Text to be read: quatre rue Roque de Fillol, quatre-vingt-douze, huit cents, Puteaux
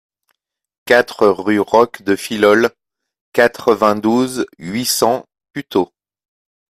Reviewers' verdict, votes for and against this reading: accepted, 2, 1